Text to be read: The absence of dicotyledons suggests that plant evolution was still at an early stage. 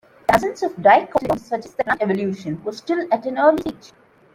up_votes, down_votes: 0, 2